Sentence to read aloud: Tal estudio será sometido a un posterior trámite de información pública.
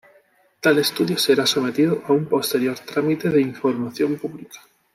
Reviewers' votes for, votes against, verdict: 3, 1, accepted